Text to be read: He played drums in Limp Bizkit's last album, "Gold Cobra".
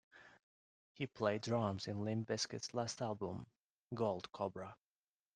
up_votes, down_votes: 2, 0